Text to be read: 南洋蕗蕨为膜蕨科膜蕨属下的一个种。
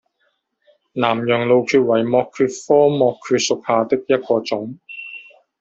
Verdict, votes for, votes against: rejected, 0, 2